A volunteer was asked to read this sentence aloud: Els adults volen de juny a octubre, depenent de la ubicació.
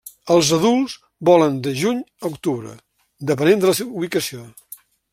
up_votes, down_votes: 1, 2